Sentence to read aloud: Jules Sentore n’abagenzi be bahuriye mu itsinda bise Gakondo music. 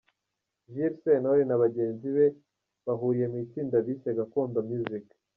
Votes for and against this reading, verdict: 0, 2, rejected